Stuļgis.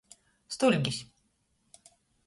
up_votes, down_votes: 2, 0